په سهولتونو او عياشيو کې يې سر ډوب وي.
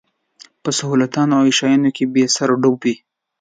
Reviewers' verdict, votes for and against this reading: rejected, 1, 2